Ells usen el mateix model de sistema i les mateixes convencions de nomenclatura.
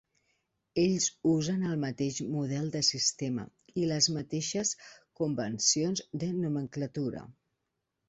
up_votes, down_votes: 2, 0